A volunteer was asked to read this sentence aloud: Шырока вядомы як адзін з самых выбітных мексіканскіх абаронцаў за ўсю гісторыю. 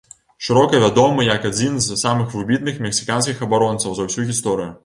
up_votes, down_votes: 3, 0